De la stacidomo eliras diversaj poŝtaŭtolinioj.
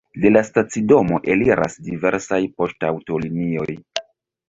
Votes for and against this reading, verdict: 1, 2, rejected